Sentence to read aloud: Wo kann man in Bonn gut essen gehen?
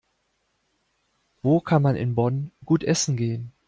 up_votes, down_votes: 2, 0